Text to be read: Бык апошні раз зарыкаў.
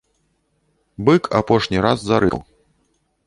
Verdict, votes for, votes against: rejected, 0, 2